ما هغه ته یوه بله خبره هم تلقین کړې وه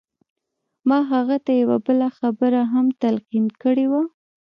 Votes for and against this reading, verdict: 1, 2, rejected